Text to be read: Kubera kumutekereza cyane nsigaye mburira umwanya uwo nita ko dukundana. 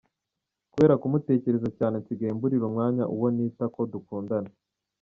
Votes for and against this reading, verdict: 2, 0, accepted